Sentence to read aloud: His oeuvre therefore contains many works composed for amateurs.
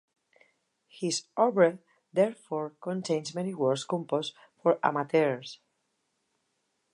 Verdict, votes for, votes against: rejected, 0, 2